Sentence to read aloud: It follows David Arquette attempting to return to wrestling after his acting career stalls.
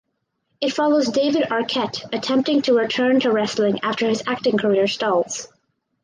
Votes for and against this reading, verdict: 4, 0, accepted